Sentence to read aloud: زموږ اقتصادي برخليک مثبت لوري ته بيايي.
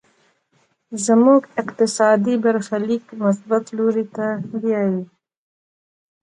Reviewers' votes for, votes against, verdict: 2, 1, accepted